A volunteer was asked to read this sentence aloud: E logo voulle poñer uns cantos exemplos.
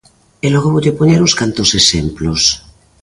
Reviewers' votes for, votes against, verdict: 2, 0, accepted